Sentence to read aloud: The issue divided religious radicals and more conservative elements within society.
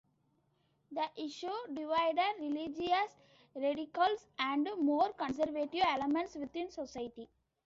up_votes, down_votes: 2, 0